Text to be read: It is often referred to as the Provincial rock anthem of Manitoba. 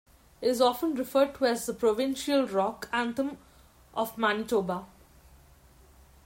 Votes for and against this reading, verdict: 1, 2, rejected